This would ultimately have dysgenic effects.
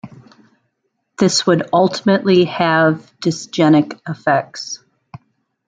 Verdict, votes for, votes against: accepted, 2, 0